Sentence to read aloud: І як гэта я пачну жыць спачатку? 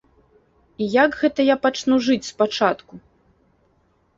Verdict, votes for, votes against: accepted, 2, 0